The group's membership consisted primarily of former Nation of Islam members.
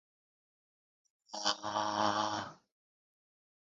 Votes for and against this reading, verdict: 0, 2, rejected